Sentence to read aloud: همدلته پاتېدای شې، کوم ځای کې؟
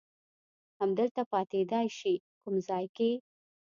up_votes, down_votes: 2, 0